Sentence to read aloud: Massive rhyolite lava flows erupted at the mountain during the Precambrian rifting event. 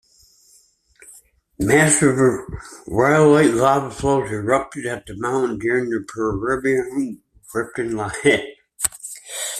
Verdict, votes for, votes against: rejected, 0, 2